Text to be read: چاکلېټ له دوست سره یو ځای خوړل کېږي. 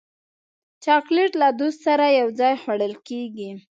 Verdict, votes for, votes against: accepted, 2, 0